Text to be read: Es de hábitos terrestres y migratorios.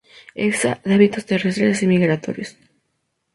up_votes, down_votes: 0, 2